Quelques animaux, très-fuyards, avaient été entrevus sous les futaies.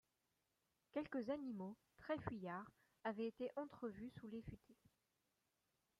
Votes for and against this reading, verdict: 2, 3, rejected